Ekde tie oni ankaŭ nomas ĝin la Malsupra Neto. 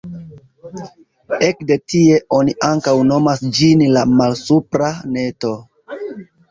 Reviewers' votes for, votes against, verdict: 1, 2, rejected